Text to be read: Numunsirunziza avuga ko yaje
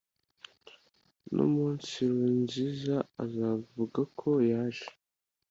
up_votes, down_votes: 1, 2